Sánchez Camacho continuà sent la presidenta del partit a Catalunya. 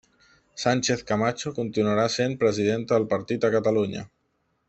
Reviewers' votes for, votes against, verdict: 1, 2, rejected